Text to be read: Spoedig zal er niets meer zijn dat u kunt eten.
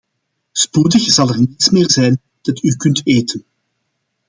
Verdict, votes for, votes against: accepted, 2, 1